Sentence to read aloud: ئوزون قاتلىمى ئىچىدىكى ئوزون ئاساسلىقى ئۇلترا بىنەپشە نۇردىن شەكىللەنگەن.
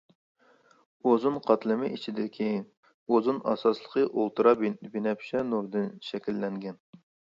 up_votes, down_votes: 1, 2